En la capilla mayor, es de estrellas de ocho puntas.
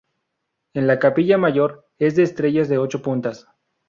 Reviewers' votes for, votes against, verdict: 2, 0, accepted